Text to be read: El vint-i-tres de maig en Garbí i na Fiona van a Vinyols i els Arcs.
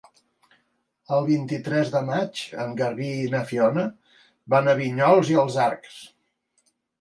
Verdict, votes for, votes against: accepted, 2, 0